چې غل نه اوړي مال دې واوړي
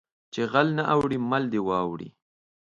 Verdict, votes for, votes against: accepted, 2, 0